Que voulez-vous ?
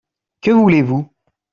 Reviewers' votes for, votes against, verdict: 2, 0, accepted